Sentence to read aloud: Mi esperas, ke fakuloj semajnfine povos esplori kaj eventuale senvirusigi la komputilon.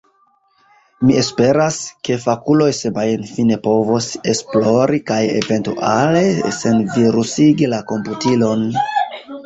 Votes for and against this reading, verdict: 2, 0, accepted